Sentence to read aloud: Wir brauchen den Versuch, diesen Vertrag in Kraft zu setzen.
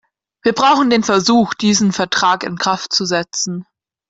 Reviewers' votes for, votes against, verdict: 2, 0, accepted